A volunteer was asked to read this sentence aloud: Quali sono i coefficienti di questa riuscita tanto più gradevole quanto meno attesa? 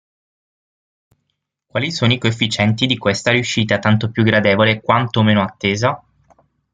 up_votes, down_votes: 3, 6